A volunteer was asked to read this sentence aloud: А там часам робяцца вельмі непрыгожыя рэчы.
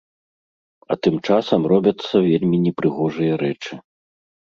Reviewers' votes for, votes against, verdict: 1, 2, rejected